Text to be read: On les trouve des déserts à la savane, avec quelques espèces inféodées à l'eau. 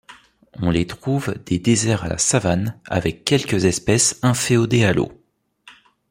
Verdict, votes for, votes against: accepted, 2, 0